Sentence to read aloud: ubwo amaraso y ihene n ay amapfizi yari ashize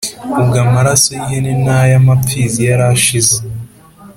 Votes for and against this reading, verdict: 2, 0, accepted